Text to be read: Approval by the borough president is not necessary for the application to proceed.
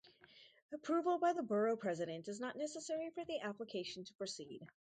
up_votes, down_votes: 2, 2